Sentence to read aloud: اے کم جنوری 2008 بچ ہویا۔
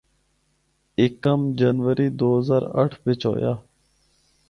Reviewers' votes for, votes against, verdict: 0, 2, rejected